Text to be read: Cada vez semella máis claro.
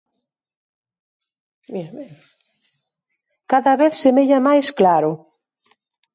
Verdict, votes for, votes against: rejected, 0, 2